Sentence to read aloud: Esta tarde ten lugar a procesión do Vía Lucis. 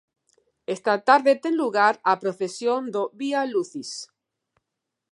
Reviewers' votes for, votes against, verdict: 2, 0, accepted